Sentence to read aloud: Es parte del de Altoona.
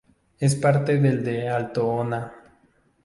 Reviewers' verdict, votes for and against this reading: accepted, 2, 0